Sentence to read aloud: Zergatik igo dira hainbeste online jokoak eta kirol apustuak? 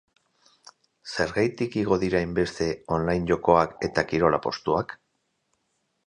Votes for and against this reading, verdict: 4, 2, accepted